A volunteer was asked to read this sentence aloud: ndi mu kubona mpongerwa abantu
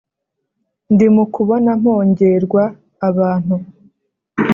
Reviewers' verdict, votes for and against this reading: rejected, 0, 2